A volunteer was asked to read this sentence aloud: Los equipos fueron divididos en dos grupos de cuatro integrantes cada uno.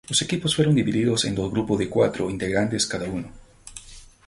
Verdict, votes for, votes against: rejected, 2, 2